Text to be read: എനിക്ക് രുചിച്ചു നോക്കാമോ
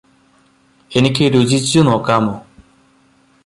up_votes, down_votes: 2, 0